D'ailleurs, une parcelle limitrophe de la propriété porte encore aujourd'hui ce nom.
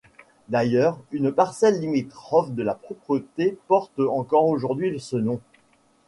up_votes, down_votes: 0, 2